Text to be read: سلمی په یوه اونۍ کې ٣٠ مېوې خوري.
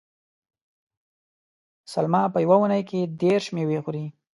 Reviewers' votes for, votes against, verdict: 0, 2, rejected